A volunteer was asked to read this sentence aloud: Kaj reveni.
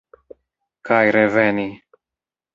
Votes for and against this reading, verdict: 1, 2, rejected